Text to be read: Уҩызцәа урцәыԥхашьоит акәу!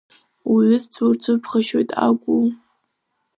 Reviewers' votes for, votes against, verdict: 1, 2, rejected